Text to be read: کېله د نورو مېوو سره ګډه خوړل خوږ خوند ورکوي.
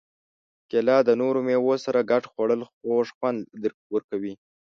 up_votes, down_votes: 1, 2